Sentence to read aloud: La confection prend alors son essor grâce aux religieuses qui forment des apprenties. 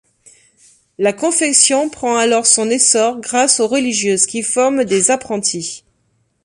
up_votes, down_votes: 2, 0